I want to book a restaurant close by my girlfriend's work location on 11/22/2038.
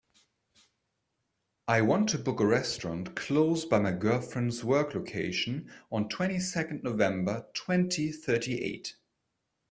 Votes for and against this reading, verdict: 0, 2, rejected